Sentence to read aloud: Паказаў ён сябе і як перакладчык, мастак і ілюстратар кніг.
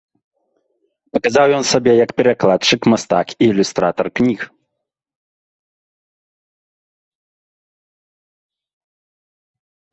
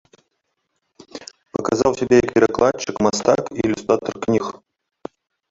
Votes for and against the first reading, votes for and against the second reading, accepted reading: 2, 0, 0, 2, first